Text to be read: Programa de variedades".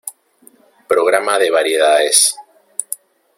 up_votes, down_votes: 2, 1